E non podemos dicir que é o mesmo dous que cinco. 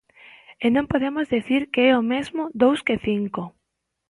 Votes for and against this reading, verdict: 2, 1, accepted